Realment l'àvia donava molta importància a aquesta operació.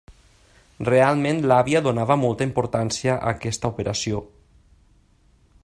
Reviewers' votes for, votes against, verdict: 3, 0, accepted